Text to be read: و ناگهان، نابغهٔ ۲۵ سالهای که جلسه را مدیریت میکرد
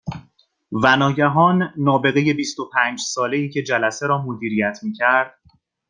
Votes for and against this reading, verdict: 0, 2, rejected